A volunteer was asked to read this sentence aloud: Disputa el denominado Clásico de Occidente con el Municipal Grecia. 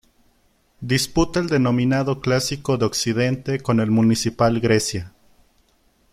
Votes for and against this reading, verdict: 2, 0, accepted